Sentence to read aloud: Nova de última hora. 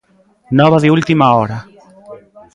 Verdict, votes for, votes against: rejected, 1, 2